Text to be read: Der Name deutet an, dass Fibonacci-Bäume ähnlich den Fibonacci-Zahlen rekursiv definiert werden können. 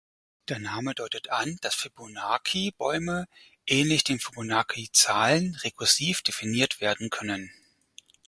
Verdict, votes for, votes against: rejected, 0, 4